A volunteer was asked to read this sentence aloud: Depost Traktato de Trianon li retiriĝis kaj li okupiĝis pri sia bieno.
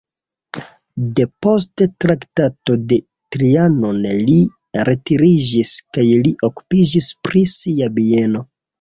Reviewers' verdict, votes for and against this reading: rejected, 0, 2